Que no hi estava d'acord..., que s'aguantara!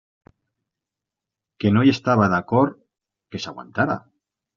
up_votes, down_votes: 1, 2